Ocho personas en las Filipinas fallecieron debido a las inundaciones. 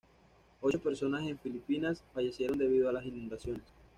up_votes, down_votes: 1, 2